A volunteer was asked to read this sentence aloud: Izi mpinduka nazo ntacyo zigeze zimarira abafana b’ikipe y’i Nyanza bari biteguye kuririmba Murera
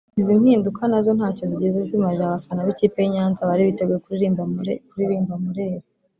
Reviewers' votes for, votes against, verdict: 0, 2, rejected